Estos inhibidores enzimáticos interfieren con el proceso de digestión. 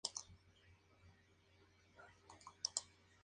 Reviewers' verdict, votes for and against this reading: rejected, 0, 2